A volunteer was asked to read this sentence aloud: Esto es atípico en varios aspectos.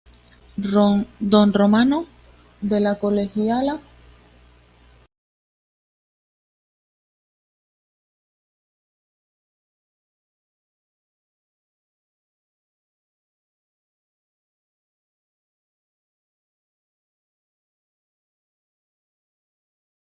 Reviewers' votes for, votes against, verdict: 1, 2, rejected